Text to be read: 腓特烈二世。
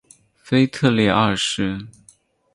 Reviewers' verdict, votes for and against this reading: rejected, 2, 2